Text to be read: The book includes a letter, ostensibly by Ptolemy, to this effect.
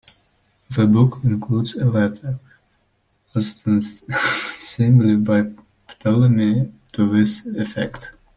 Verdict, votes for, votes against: rejected, 0, 2